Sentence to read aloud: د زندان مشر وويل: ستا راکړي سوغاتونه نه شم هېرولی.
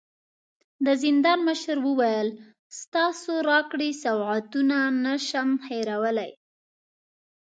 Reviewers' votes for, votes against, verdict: 0, 2, rejected